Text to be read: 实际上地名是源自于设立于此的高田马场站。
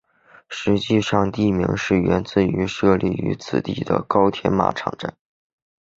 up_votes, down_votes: 6, 0